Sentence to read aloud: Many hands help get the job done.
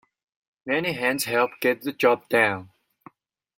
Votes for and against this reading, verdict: 2, 1, accepted